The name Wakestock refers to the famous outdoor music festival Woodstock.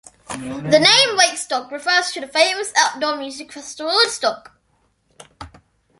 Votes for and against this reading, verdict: 1, 2, rejected